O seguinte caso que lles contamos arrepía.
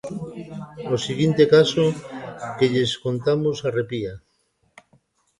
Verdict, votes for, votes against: rejected, 1, 2